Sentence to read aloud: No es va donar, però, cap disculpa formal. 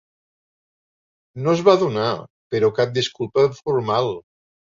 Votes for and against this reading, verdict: 2, 0, accepted